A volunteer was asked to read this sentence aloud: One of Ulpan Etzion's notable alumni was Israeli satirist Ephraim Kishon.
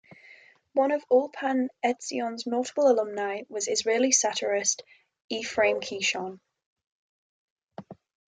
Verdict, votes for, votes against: accepted, 6, 2